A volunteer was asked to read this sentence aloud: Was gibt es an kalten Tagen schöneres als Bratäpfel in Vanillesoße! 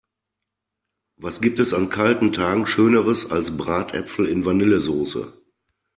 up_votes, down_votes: 2, 0